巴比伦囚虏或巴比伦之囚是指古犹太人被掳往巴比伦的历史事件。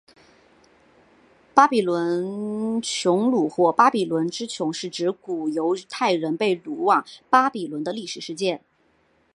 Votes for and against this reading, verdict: 3, 0, accepted